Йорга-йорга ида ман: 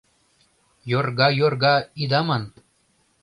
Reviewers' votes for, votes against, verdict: 2, 0, accepted